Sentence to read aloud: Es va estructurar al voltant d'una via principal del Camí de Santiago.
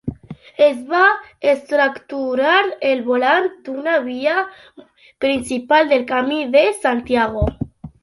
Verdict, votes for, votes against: rejected, 0, 2